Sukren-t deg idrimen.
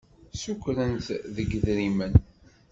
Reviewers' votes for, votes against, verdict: 2, 0, accepted